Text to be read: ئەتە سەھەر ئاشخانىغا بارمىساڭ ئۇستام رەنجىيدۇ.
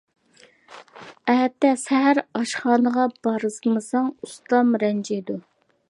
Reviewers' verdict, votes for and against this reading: accepted, 2, 0